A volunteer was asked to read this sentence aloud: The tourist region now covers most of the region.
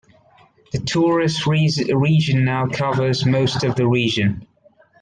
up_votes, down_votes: 0, 2